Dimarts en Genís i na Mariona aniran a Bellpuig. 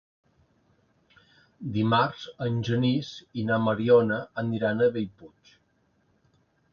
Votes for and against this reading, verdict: 2, 0, accepted